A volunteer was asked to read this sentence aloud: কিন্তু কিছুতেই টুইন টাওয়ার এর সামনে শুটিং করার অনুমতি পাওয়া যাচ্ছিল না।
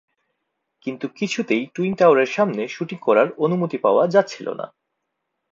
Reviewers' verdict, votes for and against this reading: rejected, 0, 2